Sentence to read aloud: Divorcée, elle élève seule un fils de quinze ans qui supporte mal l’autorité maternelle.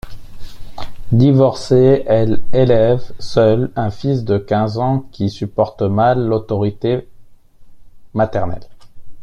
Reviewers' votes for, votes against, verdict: 2, 0, accepted